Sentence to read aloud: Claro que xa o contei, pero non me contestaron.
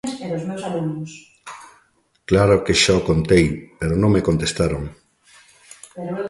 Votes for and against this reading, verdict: 0, 2, rejected